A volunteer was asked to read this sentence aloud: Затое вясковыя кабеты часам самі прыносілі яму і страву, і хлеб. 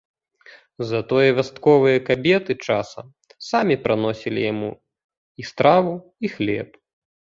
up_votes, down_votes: 0, 2